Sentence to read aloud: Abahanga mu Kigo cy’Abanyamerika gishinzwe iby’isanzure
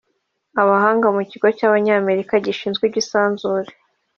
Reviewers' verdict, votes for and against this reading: rejected, 1, 2